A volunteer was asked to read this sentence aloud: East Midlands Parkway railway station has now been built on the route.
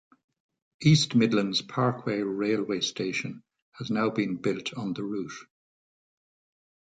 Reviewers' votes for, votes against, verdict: 2, 1, accepted